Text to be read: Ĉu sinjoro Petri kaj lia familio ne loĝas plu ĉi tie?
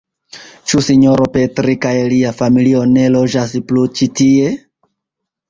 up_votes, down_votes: 1, 2